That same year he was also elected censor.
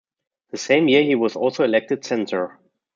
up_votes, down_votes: 2, 1